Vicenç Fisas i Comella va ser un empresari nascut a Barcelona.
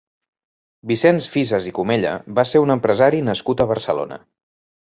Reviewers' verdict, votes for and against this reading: accepted, 4, 0